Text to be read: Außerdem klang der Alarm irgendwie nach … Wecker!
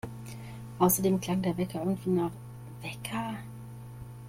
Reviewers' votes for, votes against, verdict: 0, 2, rejected